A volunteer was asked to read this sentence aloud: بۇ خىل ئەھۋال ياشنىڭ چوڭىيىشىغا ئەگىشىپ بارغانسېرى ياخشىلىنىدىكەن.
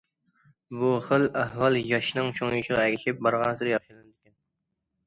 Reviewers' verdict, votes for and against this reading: rejected, 0, 2